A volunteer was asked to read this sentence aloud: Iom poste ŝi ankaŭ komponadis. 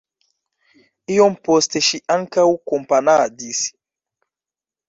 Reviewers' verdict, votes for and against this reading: rejected, 0, 2